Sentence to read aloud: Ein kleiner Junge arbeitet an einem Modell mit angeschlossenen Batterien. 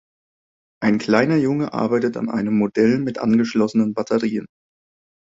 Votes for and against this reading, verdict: 2, 0, accepted